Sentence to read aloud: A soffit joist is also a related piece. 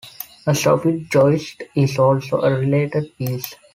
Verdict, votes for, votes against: accepted, 2, 0